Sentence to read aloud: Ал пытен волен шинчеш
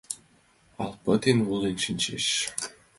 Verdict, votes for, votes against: accepted, 2, 0